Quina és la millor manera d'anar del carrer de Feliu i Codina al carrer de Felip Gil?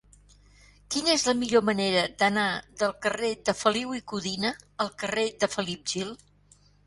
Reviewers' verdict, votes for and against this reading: accepted, 4, 0